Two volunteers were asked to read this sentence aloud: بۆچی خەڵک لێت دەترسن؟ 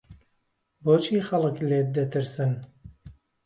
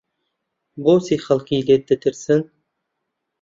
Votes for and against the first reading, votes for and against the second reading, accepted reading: 2, 0, 1, 2, first